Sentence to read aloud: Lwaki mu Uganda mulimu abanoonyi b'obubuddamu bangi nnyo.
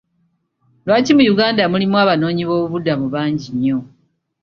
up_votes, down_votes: 2, 0